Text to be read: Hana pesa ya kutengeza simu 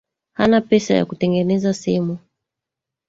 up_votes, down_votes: 1, 2